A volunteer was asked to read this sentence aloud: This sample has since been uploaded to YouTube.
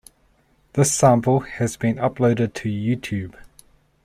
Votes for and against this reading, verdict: 2, 1, accepted